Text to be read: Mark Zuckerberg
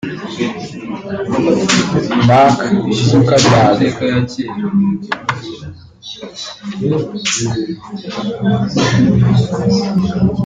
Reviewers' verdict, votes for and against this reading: rejected, 1, 2